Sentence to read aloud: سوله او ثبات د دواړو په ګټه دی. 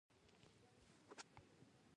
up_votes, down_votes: 1, 2